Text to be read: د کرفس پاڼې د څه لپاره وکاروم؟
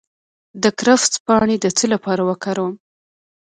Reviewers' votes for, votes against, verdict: 2, 1, accepted